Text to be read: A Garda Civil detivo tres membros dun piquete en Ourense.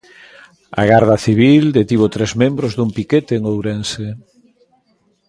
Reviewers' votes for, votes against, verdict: 2, 0, accepted